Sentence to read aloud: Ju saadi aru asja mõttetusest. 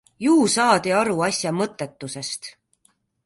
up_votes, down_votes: 2, 0